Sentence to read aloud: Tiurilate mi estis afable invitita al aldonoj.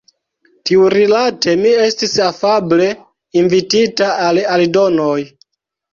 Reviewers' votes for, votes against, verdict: 1, 2, rejected